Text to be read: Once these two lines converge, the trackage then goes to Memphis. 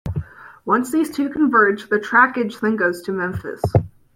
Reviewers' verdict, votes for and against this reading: rejected, 0, 2